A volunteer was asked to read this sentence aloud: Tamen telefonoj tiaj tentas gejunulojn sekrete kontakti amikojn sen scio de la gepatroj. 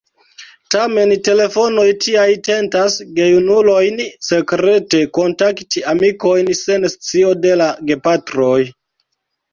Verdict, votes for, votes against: rejected, 2, 3